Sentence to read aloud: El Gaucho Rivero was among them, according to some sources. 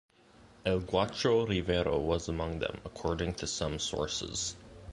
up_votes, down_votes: 2, 0